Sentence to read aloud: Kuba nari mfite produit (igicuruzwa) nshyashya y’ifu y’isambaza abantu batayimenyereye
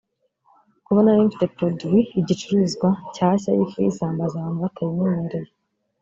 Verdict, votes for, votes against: rejected, 1, 2